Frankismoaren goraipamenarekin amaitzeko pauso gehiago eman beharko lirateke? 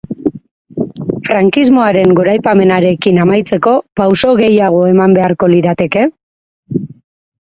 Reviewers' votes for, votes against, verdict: 2, 4, rejected